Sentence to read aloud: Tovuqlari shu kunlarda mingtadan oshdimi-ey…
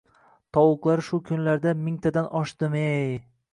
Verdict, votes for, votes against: accepted, 2, 0